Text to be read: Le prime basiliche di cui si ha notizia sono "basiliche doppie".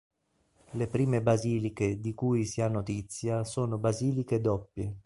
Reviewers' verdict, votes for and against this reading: accepted, 2, 0